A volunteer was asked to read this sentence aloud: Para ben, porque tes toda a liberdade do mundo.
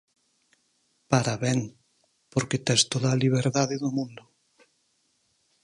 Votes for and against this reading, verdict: 14, 0, accepted